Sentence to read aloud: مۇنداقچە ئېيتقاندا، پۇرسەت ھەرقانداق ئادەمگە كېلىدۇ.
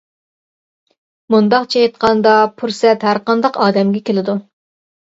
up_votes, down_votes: 2, 0